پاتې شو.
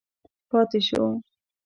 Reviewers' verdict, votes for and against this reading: accepted, 2, 0